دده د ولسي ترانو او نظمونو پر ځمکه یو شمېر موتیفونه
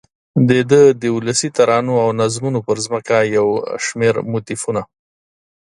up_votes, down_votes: 2, 0